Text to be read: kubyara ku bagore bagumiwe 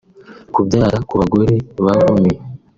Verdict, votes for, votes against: rejected, 1, 2